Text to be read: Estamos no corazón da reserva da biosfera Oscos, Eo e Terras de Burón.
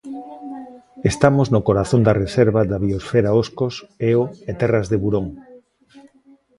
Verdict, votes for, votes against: rejected, 1, 2